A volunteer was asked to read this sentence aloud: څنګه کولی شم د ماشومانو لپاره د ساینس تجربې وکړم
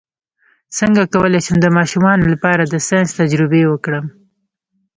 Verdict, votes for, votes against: rejected, 1, 2